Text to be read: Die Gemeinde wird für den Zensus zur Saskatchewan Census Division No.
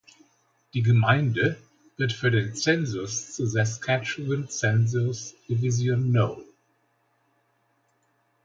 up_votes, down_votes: 1, 2